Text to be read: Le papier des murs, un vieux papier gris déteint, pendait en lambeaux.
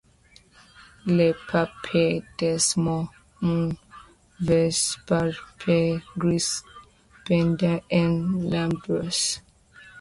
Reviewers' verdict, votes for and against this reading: rejected, 0, 2